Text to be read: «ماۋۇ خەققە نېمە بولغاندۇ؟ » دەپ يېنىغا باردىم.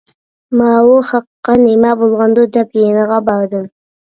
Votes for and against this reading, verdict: 2, 0, accepted